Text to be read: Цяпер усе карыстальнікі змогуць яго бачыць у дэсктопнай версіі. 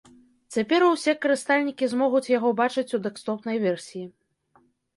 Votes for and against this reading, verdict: 1, 2, rejected